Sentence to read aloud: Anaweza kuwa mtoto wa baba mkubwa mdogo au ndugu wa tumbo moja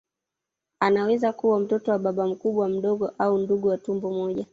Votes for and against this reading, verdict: 2, 1, accepted